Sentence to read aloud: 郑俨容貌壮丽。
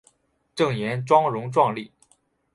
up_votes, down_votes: 2, 1